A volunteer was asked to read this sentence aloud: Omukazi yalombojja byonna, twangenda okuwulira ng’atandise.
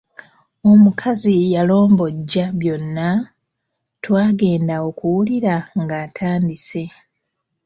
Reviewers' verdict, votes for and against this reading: rejected, 0, 2